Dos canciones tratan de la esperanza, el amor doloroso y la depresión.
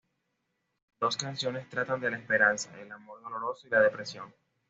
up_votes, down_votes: 2, 0